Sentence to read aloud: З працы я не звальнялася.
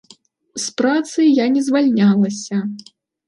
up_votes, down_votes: 2, 0